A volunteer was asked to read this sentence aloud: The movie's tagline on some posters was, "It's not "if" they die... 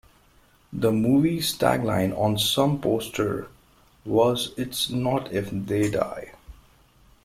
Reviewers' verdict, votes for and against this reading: accepted, 2, 1